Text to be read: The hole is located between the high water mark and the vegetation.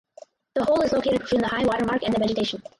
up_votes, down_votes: 2, 4